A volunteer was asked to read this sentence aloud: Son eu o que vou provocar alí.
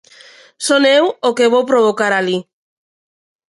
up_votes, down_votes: 2, 1